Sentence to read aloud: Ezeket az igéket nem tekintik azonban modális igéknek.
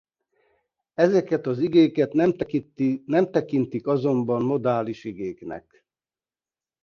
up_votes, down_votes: 1, 2